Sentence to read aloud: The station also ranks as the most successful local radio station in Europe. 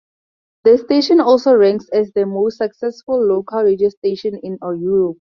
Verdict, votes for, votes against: rejected, 0, 2